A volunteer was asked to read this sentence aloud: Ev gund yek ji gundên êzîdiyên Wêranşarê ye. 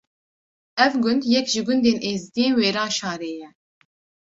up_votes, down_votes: 2, 0